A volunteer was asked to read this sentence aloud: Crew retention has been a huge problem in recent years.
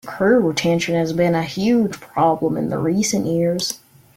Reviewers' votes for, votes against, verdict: 0, 2, rejected